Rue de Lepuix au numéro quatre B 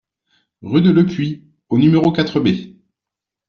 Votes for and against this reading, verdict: 2, 0, accepted